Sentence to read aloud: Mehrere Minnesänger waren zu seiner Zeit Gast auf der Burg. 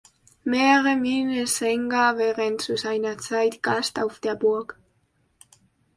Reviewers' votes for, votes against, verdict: 0, 2, rejected